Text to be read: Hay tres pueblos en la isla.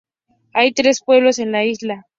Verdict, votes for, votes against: accepted, 2, 0